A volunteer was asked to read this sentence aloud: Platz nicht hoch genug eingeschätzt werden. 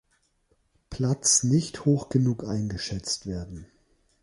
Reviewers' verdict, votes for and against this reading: accepted, 3, 0